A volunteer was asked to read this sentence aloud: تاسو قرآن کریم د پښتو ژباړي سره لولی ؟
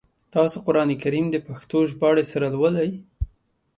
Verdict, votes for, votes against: accepted, 2, 0